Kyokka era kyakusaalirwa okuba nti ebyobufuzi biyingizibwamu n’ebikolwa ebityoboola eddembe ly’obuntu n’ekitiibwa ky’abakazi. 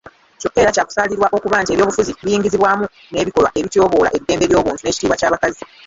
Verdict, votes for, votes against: rejected, 1, 3